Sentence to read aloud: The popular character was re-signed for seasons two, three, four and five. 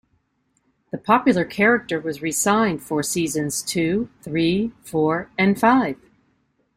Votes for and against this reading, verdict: 2, 0, accepted